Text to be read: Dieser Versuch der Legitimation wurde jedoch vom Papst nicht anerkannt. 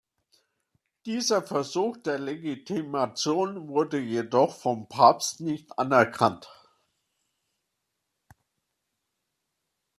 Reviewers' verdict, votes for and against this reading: accepted, 2, 0